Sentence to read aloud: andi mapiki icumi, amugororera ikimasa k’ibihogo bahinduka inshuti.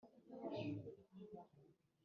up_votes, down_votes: 2, 1